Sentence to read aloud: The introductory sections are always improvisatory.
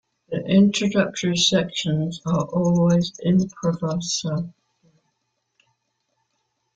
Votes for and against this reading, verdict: 0, 2, rejected